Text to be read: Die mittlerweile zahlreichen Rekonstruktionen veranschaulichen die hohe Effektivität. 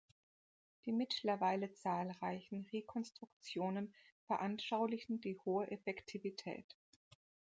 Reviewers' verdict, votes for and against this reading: accepted, 2, 0